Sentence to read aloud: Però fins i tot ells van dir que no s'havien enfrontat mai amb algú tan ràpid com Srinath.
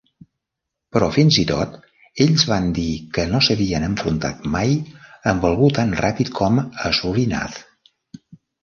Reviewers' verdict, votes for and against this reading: rejected, 1, 2